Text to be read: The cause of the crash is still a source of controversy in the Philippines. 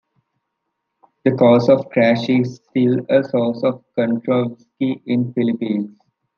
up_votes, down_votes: 0, 2